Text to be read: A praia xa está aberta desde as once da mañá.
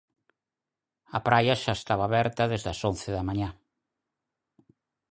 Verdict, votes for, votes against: rejected, 0, 4